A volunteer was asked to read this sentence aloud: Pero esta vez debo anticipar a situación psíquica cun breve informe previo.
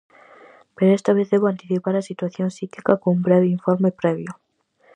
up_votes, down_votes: 4, 0